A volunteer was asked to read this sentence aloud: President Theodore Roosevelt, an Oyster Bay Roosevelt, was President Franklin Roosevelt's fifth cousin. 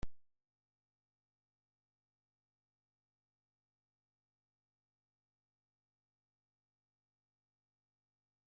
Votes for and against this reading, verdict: 0, 2, rejected